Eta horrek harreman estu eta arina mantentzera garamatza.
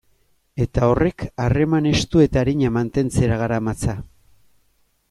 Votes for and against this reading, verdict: 2, 0, accepted